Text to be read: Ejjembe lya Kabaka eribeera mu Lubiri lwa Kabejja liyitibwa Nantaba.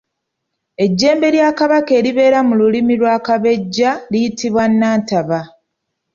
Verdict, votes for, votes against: accepted, 3, 0